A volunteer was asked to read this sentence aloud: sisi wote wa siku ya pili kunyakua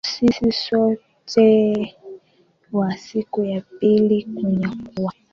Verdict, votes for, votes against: rejected, 1, 2